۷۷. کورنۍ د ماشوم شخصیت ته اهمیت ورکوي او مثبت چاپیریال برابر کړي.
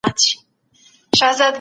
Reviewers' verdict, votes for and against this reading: rejected, 0, 2